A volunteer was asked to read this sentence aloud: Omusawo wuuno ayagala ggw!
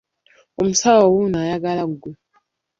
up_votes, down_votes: 0, 2